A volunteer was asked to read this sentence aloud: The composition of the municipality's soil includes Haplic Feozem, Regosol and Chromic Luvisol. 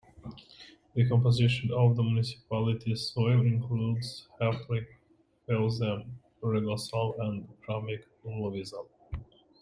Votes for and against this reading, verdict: 2, 0, accepted